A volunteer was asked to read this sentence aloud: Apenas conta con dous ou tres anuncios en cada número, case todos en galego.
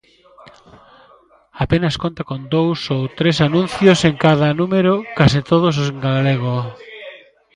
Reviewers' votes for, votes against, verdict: 0, 2, rejected